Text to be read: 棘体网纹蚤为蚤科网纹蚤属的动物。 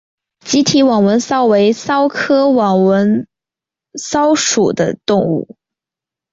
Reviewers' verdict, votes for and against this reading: accepted, 3, 0